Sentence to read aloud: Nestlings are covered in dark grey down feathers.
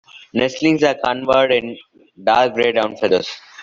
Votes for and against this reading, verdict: 1, 2, rejected